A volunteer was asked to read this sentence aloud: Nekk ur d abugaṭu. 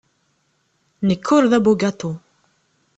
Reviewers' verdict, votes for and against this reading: accepted, 2, 0